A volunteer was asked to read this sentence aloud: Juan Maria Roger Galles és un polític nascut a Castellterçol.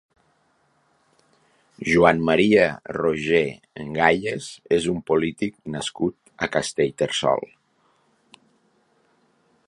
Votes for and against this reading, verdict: 2, 3, rejected